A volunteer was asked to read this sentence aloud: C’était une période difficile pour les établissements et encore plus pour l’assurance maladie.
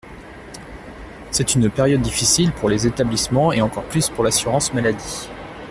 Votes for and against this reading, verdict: 1, 2, rejected